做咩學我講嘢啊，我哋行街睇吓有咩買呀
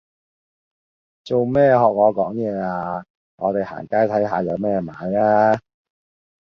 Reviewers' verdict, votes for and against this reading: accepted, 2, 0